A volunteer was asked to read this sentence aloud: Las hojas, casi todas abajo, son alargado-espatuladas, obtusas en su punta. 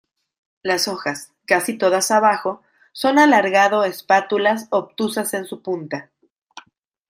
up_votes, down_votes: 0, 2